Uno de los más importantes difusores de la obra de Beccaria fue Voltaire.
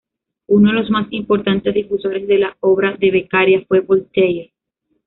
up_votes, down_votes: 1, 2